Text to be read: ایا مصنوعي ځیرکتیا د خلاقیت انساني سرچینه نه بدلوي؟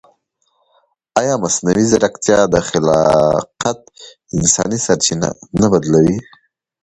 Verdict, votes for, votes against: accepted, 2, 0